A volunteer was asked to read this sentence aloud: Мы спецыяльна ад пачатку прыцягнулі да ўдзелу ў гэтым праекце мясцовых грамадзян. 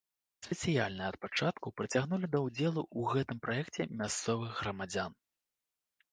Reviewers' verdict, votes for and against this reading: rejected, 0, 2